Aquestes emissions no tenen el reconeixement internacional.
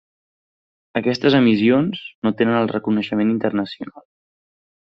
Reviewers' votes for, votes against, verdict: 1, 2, rejected